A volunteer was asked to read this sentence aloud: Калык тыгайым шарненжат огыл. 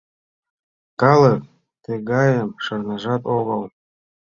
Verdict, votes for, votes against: rejected, 0, 2